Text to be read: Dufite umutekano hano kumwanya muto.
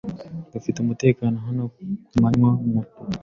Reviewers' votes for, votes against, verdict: 1, 2, rejected